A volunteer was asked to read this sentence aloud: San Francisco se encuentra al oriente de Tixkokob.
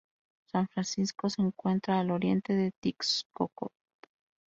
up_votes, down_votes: 0, 2